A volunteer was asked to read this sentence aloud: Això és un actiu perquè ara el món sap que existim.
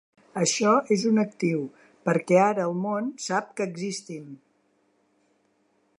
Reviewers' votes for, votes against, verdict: 2, 0, accepted